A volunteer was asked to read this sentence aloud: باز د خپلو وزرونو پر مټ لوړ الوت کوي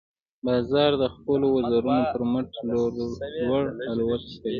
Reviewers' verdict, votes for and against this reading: rejected, 0, 2